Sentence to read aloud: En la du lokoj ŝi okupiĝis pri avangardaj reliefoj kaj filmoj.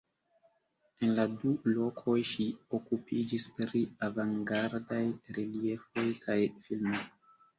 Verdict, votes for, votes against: rejected, 1, 2